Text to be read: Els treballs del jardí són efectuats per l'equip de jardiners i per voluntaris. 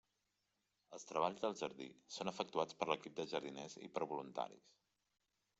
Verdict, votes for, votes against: accepted, 3, 1